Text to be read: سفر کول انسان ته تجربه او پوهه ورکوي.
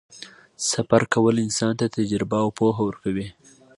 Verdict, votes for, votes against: accepted, 2, 0